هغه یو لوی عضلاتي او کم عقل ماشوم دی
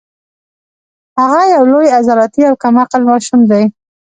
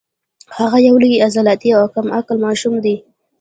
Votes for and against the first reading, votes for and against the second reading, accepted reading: 1, 2, 2, 0, second